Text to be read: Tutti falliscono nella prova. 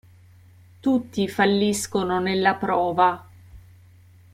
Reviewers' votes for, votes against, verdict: 0, 2, rejected